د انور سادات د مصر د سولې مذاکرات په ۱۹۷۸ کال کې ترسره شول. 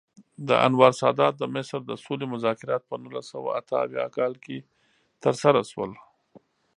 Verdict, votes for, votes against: rejected, 0, 2